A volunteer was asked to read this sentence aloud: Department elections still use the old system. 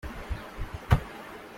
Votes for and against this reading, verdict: 0, 2, rejected